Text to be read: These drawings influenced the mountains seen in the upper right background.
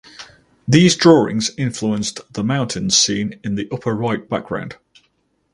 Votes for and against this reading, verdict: 2, 2, rejected